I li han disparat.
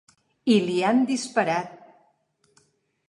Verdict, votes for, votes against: accepted, 3, 0